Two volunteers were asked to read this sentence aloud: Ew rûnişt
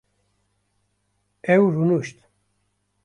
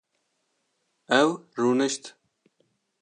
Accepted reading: second